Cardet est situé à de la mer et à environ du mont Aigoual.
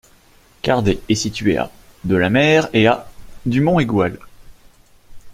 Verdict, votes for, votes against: rejected, 2, 3